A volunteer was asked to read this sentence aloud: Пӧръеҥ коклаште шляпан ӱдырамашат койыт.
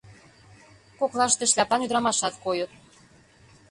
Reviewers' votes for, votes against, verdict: 1, 2, rejected